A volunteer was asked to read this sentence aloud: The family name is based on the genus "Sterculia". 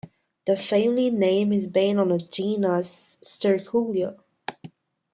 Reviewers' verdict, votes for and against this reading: rejected, 0, 2